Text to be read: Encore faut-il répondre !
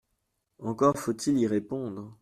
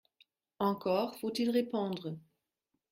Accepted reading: second